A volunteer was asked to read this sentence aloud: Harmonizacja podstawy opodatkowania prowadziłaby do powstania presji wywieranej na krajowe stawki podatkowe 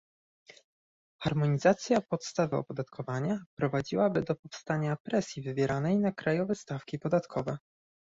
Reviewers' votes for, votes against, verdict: 1, 2, rejected